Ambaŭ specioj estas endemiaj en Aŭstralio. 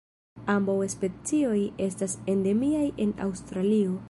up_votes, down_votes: 0, 2